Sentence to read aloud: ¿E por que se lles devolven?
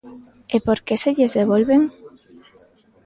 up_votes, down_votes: 2, 0